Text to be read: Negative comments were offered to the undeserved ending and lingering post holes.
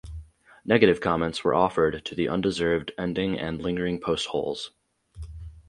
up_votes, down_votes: 2, 2